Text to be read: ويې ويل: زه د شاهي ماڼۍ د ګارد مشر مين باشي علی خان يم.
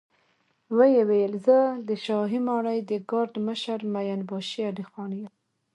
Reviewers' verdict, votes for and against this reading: accepted, 2, 0